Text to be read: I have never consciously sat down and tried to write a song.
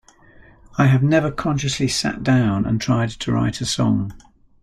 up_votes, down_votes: 1, 2